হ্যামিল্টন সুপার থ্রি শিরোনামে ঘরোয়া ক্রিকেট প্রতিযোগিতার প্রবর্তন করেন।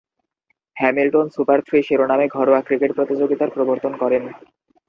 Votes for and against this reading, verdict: 4, 0, accepted